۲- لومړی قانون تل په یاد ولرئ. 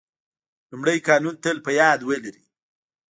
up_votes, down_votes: 0, 2